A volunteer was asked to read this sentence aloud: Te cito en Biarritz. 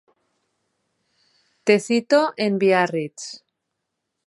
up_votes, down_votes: 2, 0